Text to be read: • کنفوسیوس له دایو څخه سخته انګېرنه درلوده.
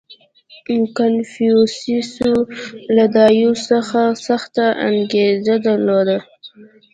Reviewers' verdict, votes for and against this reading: accepted, 2, 1